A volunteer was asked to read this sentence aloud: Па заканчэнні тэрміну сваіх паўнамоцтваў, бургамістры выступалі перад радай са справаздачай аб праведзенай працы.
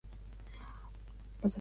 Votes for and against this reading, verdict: 0, 2, rejected